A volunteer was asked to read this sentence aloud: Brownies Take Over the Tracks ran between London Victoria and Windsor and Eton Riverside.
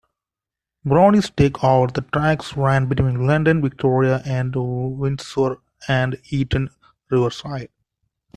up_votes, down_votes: 0, 2